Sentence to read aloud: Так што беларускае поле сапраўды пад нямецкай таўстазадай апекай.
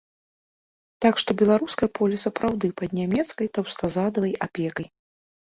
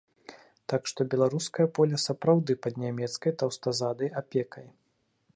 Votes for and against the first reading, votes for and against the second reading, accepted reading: 1, 2, 2, 0, second